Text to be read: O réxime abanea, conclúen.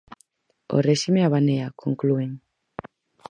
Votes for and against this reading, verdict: 4, 0, accepted